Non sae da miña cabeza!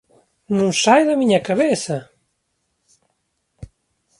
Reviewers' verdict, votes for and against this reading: accepted, 2, 0